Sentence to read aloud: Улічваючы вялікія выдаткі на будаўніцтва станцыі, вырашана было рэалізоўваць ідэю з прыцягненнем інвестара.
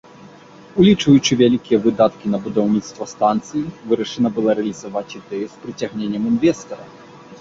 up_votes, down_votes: 1, 2